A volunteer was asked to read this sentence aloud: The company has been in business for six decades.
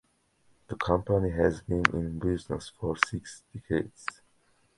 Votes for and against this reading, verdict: 1, 2, rejected